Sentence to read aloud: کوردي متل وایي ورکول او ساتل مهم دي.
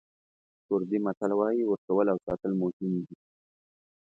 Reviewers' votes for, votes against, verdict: 2, 0, accepted